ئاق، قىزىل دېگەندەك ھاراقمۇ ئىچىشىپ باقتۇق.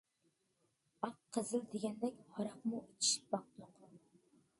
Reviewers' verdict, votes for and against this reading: accepted, 2, 1